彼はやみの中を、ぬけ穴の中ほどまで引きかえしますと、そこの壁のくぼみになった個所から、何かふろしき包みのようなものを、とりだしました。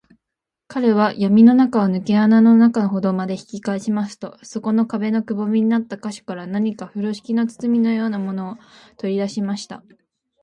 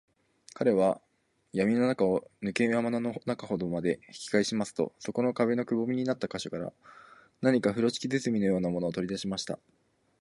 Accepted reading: second